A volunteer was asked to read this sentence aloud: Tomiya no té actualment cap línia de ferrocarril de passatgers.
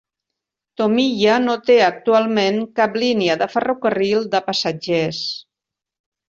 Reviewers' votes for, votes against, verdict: 3, 0, accepted